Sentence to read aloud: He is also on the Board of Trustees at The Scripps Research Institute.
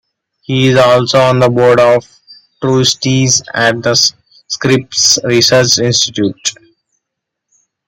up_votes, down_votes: 2, 1